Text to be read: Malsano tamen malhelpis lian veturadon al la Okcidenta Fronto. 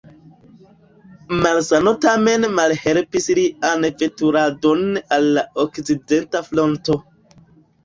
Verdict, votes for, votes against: accepted, 2, 0